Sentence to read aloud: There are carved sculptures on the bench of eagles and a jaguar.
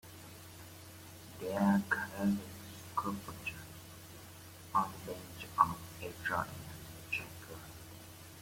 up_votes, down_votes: 0, 2